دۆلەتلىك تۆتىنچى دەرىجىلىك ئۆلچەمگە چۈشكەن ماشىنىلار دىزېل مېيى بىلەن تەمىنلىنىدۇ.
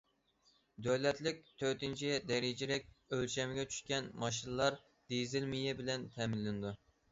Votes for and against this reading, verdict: 2, 0, accepted